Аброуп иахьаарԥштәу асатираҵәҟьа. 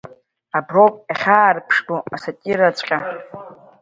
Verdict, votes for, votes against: rejected, 1, 2